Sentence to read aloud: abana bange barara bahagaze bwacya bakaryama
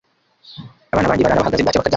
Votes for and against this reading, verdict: 1, 2, rejected